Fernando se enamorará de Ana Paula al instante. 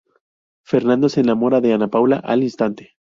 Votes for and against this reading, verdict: 0, 2, rejected